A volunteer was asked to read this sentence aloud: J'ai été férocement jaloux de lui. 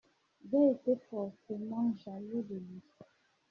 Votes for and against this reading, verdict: 0, 2, rejected